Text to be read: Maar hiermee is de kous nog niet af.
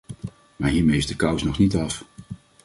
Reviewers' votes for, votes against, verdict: 2, 0, accepted